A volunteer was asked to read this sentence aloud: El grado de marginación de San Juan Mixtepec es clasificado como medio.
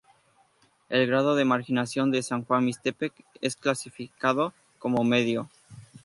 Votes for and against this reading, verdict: 0, 2, rejected